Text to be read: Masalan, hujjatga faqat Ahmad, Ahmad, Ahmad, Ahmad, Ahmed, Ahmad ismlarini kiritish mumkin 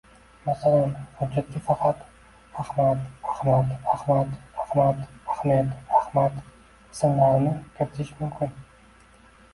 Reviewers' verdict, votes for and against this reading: rejected, 1, 2